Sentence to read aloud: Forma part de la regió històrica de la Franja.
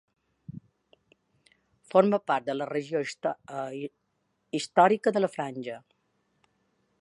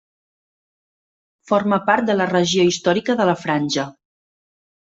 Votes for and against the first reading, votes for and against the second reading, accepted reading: 0, 2, 3, 0, second